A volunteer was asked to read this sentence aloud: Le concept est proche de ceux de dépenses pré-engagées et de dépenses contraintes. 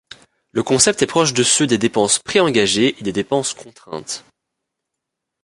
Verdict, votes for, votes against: rejected, 0, 2